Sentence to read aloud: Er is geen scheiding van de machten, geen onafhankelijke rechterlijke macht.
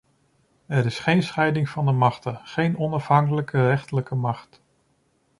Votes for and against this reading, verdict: 2, 0, accepted